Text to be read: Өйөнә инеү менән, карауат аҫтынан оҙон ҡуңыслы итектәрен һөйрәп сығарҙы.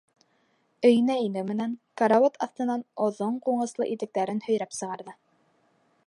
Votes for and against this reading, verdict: 4, 0, accepted